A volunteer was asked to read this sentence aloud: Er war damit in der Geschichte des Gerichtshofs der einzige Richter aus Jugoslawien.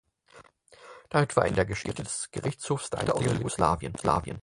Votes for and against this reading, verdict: 0, 4, rejected